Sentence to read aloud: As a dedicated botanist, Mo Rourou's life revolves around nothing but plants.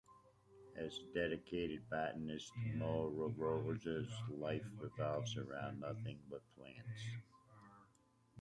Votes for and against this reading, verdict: 0, 2, rejected